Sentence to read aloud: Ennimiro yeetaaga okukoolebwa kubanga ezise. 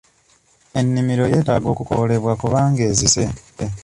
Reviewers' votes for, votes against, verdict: 1, 2, rejected